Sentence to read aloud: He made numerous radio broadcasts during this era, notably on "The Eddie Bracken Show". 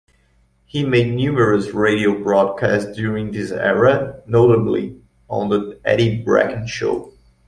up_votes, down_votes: 1, 2